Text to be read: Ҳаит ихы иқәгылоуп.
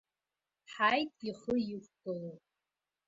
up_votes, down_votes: 1, 2